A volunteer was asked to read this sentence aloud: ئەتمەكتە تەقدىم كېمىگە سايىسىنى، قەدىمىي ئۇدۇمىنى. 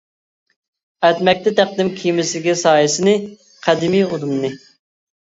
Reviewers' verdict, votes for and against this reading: rejected, 1, 2